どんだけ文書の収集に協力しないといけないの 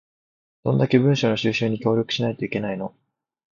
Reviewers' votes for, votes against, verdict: 2, 0, accepted